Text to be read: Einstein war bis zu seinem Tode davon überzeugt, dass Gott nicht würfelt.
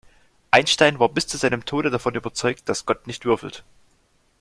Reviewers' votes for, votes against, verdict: 2, 0, accepted